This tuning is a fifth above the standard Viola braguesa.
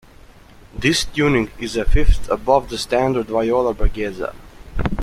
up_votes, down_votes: 2, 1